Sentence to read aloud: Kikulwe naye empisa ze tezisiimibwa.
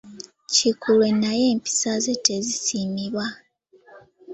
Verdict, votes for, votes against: rejected, 1, 2